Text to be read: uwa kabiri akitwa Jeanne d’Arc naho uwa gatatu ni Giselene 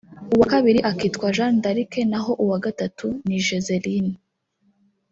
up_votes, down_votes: 0, 2